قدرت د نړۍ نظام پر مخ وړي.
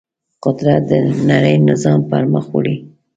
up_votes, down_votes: 1, 2